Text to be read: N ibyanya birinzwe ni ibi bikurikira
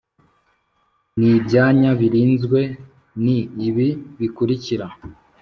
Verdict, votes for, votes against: accepted, 3, 0